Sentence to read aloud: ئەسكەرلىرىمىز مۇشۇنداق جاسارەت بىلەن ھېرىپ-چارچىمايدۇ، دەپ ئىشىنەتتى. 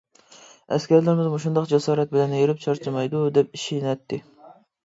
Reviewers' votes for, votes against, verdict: 2, 0, accepted